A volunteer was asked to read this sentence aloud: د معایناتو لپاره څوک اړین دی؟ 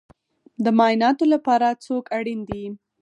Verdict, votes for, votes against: rejected, 2, 4